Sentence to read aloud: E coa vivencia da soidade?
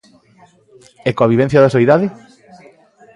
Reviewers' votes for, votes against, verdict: 2, 0, accepted